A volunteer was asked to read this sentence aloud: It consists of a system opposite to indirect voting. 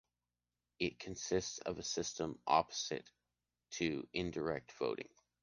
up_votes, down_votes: 1, 2